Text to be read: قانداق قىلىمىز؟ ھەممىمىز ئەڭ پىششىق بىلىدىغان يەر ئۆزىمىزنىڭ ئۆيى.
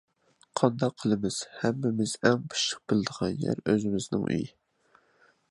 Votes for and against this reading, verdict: 2, 0, accepted